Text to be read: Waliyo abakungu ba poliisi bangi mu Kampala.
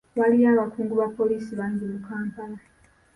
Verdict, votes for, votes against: accepted, 2, 0